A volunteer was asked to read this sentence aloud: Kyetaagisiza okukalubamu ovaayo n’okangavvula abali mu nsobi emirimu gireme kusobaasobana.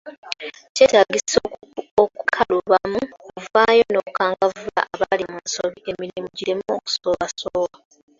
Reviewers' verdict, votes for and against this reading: rejected, 0, 2